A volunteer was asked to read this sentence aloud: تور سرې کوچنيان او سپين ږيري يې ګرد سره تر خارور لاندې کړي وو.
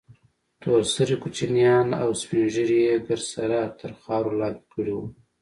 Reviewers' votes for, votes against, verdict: 2, 0, accepted